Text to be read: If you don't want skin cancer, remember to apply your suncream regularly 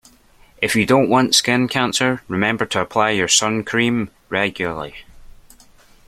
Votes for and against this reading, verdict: 2, 0, accepted